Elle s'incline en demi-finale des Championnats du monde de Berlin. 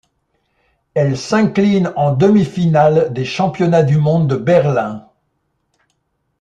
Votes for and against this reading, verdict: 2, 0, accepted